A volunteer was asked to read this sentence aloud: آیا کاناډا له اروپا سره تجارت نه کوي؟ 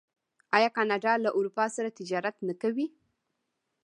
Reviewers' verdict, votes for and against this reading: rejected, 1, 2